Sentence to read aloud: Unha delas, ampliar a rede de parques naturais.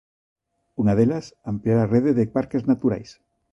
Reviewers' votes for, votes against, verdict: 2, 0, accepted